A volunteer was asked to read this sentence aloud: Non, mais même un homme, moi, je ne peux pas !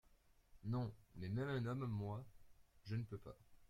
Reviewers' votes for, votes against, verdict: 2, 0, accepted